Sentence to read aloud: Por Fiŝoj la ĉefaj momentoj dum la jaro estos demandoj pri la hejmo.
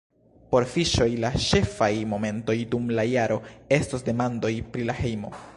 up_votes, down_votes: 0, 2